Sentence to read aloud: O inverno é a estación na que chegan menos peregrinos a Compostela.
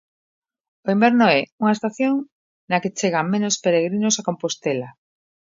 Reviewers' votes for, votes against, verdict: 0, 2, rejected